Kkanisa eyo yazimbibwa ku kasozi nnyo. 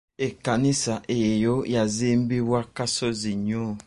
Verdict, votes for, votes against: accepted, 2, 1